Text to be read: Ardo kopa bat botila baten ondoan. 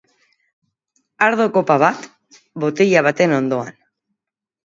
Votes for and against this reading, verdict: 2, 0, accepted